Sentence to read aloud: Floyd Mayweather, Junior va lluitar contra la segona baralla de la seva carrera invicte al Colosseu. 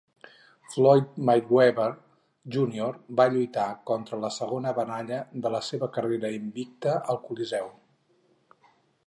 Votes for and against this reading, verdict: 2, 2, rejected